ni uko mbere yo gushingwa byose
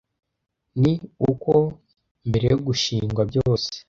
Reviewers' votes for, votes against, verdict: 1, 2, rejected